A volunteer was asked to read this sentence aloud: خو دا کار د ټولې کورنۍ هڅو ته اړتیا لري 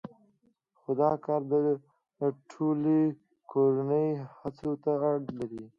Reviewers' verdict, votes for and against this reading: rejected, 1, 2